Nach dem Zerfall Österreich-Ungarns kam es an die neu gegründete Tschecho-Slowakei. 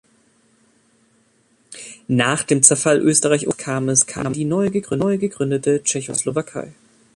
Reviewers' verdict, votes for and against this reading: rejected, 0, 2